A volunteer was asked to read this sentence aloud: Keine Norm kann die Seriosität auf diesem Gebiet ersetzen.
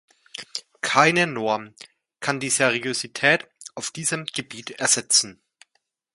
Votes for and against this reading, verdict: 2, 0, accepted